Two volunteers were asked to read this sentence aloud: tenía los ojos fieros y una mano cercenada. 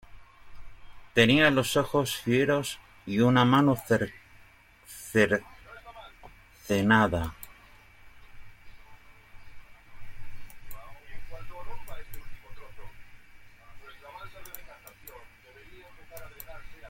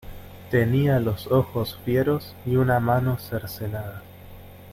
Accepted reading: second